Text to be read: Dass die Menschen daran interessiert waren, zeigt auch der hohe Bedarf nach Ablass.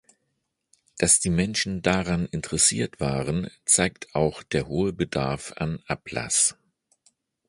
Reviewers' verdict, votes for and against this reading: rejected, 1, 2